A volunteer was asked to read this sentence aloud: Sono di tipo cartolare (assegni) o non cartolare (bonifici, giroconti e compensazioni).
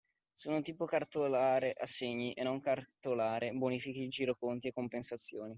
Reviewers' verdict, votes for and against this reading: rejected, 0, 2